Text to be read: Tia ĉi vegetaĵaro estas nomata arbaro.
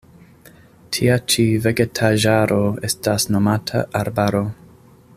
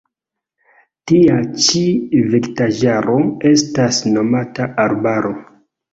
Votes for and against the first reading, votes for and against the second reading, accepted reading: 2, 0, 1, 2, first